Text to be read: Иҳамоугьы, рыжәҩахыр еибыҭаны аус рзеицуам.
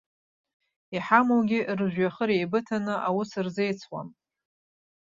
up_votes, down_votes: 2, 0